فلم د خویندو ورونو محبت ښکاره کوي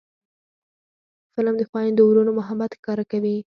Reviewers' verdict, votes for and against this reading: accepted, 4, 2